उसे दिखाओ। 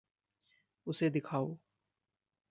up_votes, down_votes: 1, 2